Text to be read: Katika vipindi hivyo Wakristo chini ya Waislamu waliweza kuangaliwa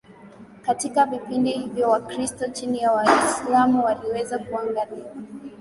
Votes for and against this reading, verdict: 0, 2, rejected